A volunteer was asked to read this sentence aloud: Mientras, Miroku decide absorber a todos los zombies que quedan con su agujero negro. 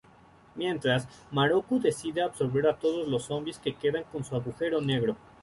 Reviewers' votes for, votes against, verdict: 1, 2, rejected